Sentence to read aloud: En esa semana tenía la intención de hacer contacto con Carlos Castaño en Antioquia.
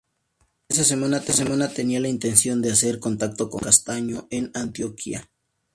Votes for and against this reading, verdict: 0, 4, rejected